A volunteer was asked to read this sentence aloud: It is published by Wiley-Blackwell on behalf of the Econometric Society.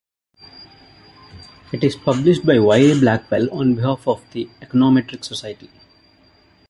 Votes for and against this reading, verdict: 2, 0, accepted